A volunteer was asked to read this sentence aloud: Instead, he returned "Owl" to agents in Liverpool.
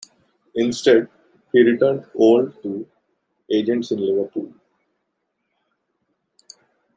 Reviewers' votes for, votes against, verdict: 0, 2, rejected